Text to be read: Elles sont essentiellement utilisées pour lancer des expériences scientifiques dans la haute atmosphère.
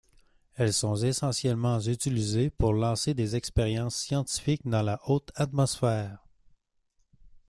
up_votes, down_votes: 2, 0